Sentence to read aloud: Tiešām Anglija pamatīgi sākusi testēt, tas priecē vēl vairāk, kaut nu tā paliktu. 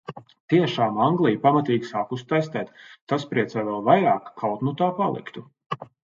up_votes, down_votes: 2, 0